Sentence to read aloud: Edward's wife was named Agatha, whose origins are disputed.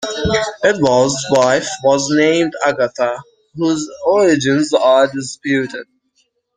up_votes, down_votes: 1, 2